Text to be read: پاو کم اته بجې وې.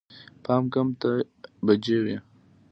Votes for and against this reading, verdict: 2, 0, accepted